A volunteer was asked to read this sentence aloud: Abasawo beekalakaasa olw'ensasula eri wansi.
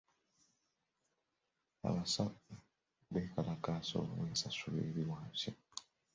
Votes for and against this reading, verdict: 2, 0, accepted